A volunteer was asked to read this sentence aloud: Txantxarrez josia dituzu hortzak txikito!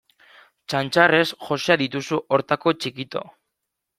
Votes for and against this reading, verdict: 1, 2, rejected